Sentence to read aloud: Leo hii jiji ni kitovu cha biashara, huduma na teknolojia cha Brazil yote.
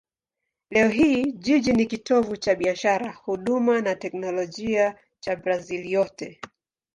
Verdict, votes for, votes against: accepted, 3, 0